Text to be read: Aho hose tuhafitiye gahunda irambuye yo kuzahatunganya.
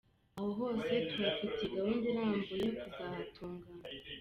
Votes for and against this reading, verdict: 1, 2, rejected